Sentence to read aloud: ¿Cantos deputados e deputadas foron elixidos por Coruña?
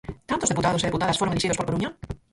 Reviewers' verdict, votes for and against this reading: rejected, 0, 6